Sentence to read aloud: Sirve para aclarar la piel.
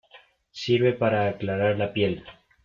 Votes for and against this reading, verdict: 2, 1, accepted